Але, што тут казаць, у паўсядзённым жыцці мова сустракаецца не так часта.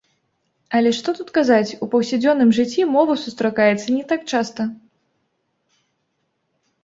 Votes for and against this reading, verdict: 2, 0, accepted